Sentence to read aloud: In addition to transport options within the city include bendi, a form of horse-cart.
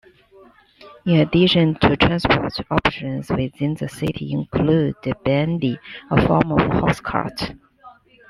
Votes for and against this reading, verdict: 1, 2, rejected